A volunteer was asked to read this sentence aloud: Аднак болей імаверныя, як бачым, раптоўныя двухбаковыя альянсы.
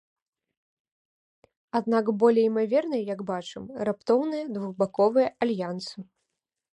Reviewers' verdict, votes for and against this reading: accepted, 2, 0